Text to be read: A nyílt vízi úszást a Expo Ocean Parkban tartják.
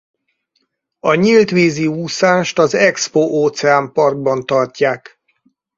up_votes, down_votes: 2, 2